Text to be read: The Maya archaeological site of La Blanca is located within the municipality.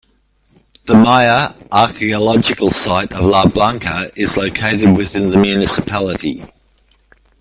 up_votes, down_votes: 2, 1